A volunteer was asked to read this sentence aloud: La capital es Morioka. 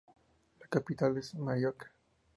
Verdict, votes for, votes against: accepted, 2, 0